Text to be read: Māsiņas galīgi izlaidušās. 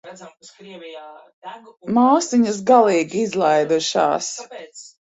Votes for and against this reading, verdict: 1, 2, rejected